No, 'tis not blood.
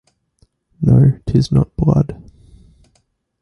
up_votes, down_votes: 2, 0